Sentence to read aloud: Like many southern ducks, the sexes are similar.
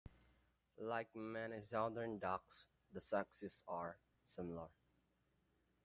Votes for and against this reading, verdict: 0, 2, rejected